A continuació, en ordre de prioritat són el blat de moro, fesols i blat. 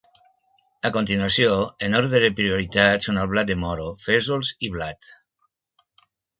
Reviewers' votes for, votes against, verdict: 3, 0, accepted